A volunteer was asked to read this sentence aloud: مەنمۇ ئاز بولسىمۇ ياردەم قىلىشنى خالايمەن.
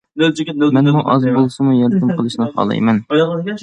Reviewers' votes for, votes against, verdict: 1, 2, rejected